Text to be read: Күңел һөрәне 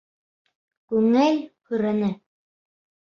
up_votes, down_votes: 0, 2